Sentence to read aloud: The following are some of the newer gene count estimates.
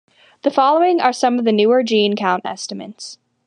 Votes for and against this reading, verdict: 2, 0, accepted